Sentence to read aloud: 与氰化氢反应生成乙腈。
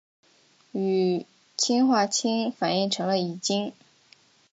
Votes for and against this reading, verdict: 3, 0, accepted